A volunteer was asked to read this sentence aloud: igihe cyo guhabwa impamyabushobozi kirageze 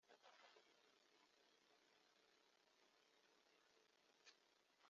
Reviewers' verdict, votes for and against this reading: rejected, 0, 2